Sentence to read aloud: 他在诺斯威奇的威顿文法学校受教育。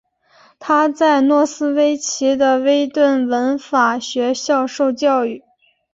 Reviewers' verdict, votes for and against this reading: accepted, 7, 0